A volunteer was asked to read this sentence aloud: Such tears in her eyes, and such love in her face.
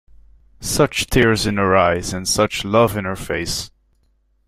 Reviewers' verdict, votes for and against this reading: accepted, 2, 0